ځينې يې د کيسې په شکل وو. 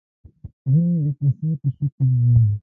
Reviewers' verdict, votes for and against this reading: rejected, 1, 2